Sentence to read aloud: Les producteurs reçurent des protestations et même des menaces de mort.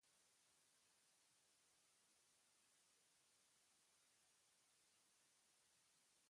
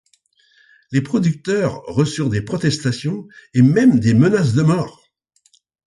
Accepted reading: second